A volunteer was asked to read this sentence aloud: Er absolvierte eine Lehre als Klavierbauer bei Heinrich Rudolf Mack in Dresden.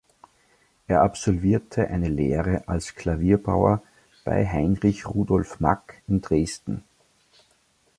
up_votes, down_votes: 2, 0